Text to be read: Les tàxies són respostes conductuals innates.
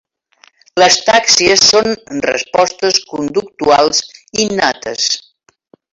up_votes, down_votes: 4, 1